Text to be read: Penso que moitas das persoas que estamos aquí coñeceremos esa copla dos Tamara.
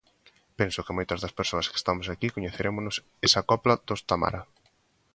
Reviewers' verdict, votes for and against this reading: rejected, 0, 2